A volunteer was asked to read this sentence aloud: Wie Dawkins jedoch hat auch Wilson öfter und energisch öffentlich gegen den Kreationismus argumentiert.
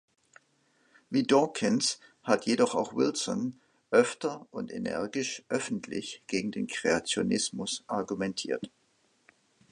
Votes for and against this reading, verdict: 1, 2, rejected